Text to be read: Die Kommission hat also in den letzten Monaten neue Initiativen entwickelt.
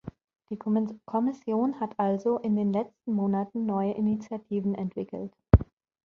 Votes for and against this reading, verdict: 0, 2, rejected